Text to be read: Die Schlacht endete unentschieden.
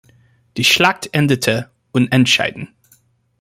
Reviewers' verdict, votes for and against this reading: rejected, 0, 2